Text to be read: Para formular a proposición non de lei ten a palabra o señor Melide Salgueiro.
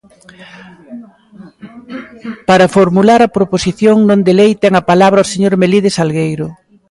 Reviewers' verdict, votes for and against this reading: accepted, 2, 0